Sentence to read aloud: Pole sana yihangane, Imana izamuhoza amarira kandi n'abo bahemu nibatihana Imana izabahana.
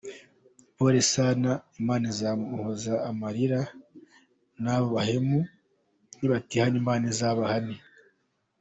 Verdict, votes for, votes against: rejected, 1, 2